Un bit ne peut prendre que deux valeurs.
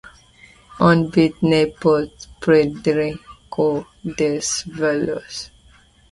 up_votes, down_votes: 0, 2